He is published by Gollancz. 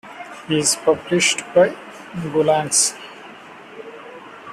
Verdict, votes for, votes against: rejected, 0, 2